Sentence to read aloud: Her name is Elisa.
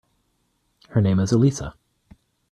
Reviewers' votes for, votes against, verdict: 2, 0, accepted